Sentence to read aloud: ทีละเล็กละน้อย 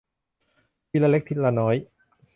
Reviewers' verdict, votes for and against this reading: rejected, 1, 2